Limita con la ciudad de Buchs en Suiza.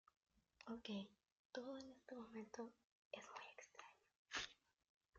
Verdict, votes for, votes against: rejected, 0, 2